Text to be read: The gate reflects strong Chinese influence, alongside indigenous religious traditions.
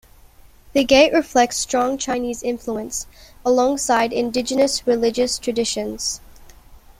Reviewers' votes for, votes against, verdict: 2, 0, accepted